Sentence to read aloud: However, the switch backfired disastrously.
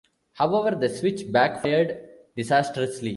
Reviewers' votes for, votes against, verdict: 1, 2, rejected